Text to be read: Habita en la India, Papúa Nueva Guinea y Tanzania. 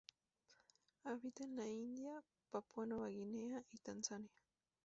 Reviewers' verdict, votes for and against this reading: rejected, 2, 2